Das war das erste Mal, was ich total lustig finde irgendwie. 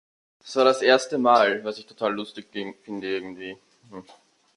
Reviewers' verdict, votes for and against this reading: rejected, 0, 2